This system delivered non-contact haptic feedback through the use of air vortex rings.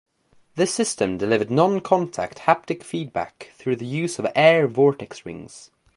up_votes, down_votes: 2, 0